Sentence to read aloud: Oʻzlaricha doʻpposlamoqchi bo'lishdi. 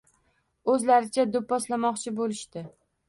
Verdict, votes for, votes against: accepted, 2, 0